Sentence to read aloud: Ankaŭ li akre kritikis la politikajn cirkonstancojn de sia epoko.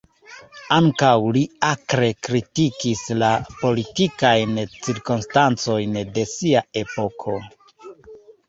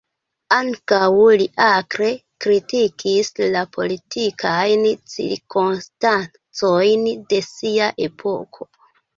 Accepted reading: second